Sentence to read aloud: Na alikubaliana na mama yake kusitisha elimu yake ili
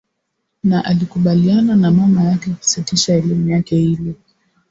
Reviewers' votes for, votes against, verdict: 2, 0, accepted